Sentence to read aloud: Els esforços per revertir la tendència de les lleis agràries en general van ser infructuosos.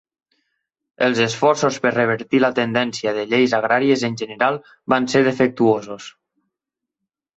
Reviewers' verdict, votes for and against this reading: rejected, 0, 2